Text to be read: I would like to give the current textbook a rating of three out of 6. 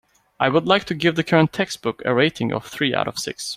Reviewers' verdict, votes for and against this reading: rejected, 0, 2